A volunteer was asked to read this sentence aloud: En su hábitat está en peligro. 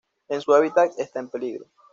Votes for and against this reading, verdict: 2, 0, accepted